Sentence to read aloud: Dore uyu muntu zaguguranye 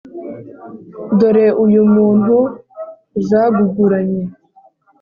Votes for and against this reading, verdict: 3, 0, accepted